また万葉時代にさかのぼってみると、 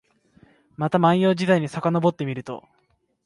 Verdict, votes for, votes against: accepted, 2, 0